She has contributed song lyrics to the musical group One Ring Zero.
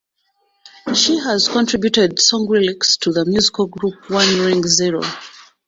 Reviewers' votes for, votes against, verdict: 2, 1, accepted